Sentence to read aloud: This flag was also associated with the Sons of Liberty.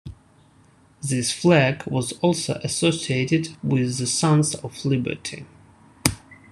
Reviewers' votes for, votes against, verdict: 2, 0, accepted